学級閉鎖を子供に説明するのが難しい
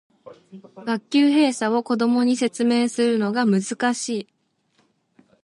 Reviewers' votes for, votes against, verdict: 0, 2, rejected